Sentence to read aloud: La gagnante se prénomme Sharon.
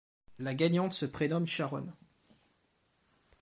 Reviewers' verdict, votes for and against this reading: accepted, 2, 0